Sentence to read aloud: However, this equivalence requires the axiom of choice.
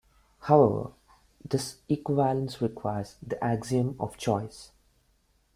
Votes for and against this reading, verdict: 0, 2, rejected